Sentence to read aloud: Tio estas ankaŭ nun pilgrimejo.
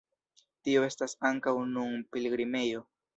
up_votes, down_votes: 2, 0